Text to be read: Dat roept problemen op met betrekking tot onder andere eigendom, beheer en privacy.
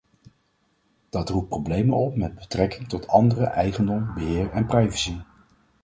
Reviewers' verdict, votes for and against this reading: rejected, 2, 4